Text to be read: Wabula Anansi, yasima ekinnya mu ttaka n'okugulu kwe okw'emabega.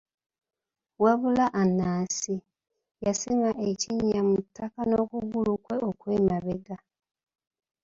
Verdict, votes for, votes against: accepted, 2, 0